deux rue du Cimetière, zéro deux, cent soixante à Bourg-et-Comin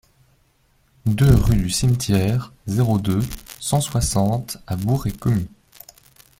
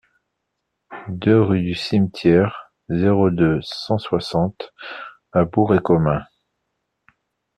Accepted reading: second